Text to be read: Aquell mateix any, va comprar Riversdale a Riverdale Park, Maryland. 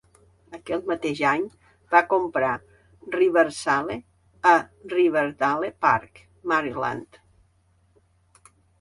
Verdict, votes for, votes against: rejected, 0, 2